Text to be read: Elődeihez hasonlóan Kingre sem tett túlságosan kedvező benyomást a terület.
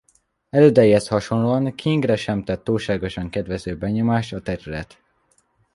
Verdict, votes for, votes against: accepted, 2, 0